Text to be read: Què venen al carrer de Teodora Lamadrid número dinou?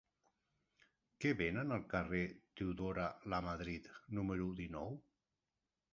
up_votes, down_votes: 0, 2